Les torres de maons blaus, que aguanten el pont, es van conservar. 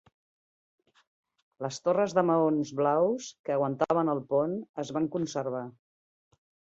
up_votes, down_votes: 0, 2